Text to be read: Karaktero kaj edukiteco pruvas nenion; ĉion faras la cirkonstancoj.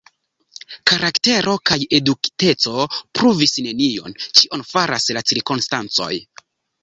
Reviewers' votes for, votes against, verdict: 0, 2, rejected